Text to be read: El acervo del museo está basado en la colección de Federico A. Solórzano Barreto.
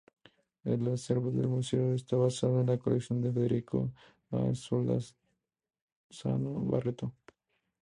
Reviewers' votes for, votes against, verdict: 0, 2, rejected